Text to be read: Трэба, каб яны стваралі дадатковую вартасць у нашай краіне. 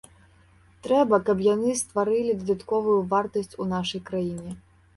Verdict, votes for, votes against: rejected, 0, 2